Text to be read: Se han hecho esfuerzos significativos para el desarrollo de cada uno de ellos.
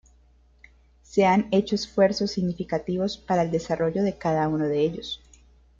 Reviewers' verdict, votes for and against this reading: accepted, 2, 1